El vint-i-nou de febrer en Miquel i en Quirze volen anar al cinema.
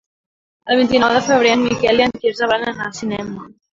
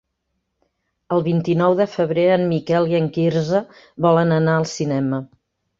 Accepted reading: second